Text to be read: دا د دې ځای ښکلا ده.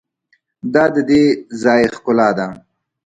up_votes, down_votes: 2, 0